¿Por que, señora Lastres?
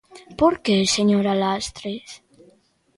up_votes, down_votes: 0, 2